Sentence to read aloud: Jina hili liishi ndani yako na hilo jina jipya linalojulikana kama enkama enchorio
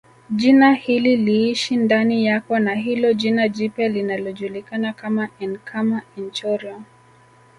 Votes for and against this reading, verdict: 2, 0, accepted